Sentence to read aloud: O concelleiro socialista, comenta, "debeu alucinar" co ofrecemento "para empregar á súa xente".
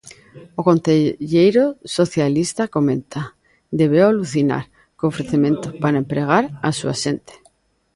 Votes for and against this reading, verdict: 2, 1, accepted